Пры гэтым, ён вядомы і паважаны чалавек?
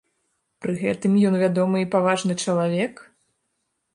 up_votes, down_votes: 1, 2